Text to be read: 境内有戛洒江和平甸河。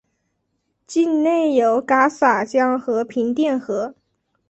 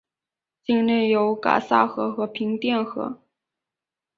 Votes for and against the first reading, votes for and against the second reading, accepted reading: 2, 1, 2, 5, first